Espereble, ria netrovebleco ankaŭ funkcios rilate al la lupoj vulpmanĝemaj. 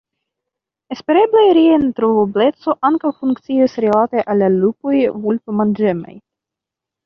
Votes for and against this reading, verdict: 2, 1, accepted